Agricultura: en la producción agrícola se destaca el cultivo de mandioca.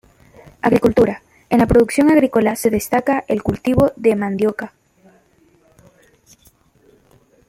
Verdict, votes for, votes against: accepted, 2, 0